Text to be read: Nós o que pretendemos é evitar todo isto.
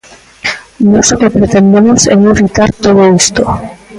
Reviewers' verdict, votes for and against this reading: rejected, 0, 2